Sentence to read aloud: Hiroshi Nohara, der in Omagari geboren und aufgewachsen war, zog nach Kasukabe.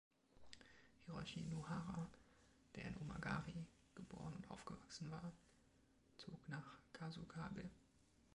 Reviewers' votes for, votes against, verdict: 2, 0, accepted